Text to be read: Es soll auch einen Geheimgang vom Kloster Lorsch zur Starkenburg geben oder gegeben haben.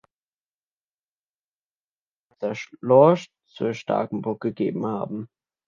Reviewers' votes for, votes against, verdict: 0, 2, rejected